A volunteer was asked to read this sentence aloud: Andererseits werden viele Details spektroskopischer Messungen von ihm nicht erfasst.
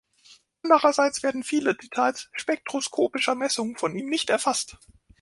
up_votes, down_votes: 2, 0